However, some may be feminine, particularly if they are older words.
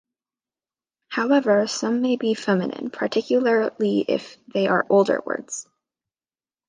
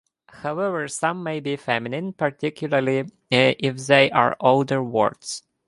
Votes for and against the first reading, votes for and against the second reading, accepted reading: 2, 0, 1, 2, first